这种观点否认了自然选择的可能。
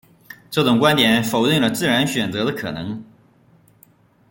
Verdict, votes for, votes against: rejected, 0, 2